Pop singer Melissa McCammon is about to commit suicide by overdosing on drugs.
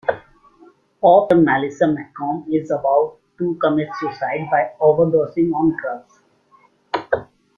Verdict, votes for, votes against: rejected, 0, 2